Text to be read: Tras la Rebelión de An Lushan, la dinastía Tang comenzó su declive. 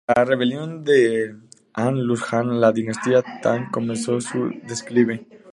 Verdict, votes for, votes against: rejected, 0, 2